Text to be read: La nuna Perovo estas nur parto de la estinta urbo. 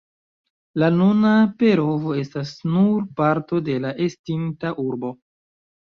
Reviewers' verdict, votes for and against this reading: accepted, 2, 0